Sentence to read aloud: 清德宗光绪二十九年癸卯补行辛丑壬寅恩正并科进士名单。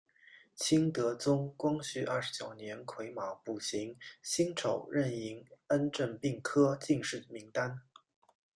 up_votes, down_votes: 2, 0